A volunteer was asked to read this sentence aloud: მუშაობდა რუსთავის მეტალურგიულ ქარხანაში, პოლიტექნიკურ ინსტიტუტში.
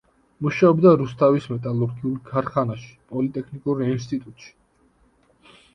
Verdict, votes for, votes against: accepted, 2, 0